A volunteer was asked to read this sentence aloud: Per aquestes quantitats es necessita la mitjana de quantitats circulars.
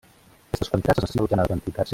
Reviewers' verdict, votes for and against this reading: rejected, 0, 2